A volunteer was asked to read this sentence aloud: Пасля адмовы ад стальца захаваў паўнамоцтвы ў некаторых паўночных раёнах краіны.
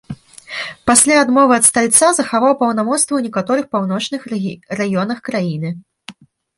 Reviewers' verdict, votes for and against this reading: rejected, 0, 2